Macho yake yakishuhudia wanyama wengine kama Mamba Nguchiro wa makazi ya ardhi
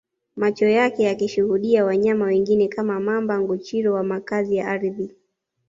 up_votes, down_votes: 2, 0